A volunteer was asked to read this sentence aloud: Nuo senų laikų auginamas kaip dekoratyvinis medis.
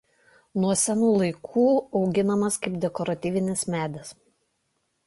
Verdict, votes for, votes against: accepted, 2, 0